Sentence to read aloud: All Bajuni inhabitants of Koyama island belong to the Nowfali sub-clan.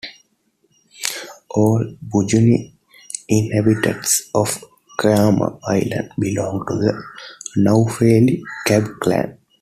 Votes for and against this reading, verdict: 1, 2, rejected